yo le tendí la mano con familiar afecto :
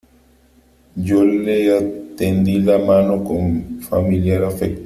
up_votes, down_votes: 2, 3